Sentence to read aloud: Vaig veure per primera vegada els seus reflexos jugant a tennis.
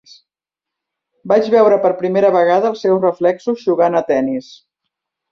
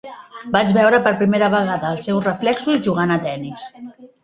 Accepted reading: first